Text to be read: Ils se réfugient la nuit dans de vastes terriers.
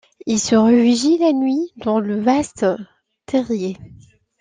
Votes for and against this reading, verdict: 1, 2, rejected